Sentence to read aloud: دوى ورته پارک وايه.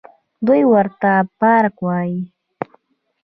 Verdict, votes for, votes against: accepted, 2, 0